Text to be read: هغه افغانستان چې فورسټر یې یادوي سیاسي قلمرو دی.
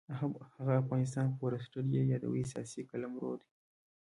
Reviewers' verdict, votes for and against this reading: rejected, 1, 2